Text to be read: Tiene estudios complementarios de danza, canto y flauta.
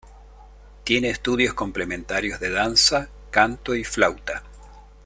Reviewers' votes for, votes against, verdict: 2, 0, accepted